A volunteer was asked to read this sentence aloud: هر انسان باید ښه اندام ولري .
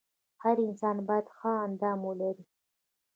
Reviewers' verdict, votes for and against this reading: rejected, 0, 3